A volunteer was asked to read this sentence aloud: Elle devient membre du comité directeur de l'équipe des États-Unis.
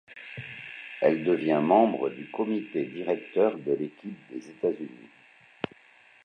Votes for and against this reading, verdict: 1, 2, rejected